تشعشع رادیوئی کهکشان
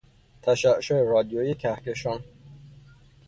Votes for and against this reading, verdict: 0, 3, rejected